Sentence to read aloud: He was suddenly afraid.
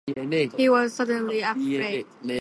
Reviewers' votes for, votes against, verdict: 2, 0, accepted